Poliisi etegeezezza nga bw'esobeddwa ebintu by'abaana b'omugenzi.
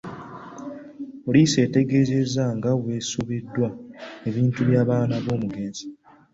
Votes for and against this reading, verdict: 2, 1, accepted